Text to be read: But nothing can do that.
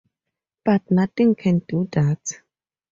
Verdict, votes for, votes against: accepted, 4, 0